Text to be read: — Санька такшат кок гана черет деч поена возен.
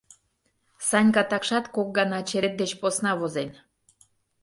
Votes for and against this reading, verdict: 1, 2, rejected